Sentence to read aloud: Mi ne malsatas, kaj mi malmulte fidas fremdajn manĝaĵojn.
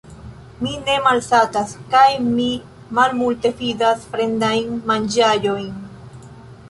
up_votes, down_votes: 0, 2